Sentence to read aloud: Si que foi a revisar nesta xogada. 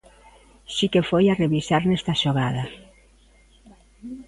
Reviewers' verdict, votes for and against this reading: accepted, 2, 0